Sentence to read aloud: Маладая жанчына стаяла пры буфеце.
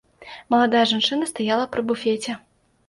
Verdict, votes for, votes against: accepted, 2, 0